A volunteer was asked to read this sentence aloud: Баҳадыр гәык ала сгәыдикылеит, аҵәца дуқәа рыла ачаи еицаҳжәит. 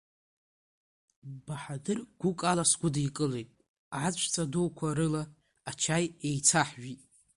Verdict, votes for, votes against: accepted, 2, 1